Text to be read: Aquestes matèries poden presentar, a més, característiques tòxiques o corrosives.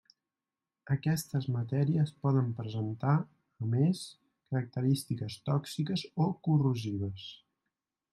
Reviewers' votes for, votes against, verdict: 1, 2, rejected